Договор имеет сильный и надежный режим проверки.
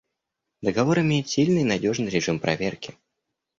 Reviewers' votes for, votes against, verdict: 2, 1, accepted